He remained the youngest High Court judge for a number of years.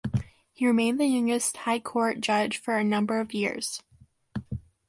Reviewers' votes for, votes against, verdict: 2, 0, accepted